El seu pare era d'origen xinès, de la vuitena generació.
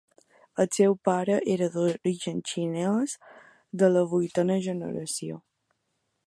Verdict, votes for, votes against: accepted, 2, 0